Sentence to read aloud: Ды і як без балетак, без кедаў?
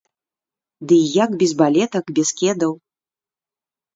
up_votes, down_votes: 0, 2